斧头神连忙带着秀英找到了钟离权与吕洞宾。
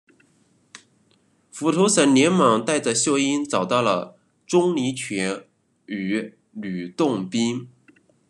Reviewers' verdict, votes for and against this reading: accepted, 2, 0